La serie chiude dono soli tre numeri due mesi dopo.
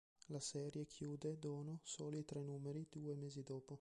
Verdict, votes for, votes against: rejected, 1, 2